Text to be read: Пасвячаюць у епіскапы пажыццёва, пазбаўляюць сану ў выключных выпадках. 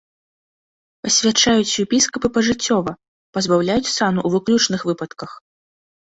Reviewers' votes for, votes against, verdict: 2, 0, accepted